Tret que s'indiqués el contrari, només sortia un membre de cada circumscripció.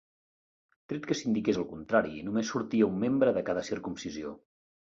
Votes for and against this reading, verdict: 0, 2, rejected